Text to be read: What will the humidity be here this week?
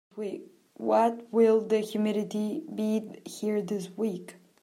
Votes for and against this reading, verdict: 0, 2, rejected